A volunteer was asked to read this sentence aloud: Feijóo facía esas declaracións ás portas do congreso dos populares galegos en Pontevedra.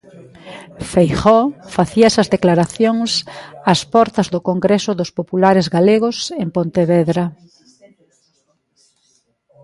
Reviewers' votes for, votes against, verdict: 2, 1, accepted